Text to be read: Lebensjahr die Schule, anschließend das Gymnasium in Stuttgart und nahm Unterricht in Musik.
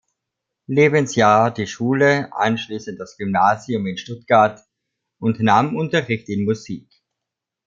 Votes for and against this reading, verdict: 2, 0, accepted